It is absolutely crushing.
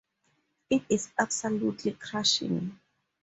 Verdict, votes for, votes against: accepted, 4, 0